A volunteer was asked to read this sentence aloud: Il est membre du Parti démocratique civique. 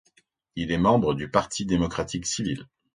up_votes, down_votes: 0, 2